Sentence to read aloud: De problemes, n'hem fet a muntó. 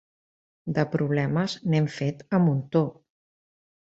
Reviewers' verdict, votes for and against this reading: accepted, 2, 0